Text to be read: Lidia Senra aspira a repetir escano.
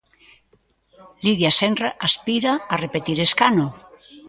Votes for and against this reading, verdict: 2, 0, accepted